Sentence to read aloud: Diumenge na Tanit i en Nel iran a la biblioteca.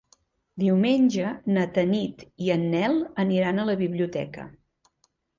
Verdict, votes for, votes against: rejected, 1, 2